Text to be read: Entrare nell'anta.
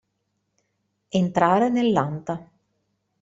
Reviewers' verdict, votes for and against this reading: accepted, 2, 0